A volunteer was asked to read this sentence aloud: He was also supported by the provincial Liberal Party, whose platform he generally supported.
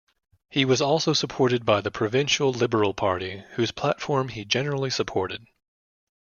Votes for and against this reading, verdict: 2, 0, accepted